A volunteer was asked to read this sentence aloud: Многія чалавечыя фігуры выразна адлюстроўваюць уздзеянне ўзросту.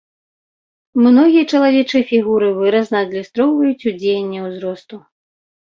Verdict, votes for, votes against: rejected, 1, 2